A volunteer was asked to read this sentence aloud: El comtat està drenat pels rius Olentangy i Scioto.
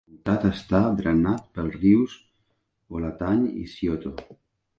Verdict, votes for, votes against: rejected, 0, 4